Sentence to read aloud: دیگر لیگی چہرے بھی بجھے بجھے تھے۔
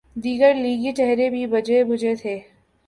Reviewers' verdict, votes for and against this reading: accepted, 3, 0